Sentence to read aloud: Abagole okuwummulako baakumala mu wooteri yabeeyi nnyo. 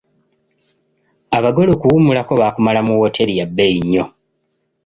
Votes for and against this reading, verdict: 2, 0, accepted